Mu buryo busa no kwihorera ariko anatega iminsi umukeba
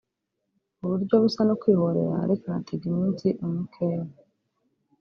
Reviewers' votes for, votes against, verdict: 1, 2, rejected